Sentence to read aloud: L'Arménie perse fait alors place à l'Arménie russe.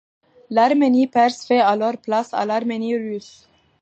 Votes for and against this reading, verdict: 2, 0, accepted